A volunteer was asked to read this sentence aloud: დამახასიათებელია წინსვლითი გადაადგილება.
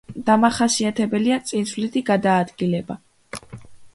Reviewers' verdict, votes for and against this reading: accepted, 2, 0